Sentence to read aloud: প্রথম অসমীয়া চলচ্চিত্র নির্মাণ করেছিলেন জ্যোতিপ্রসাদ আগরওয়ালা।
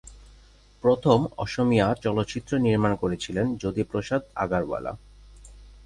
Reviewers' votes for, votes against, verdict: 2, 2, rejected